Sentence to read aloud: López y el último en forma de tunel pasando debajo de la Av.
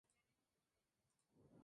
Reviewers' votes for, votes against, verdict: 0, 2, rejected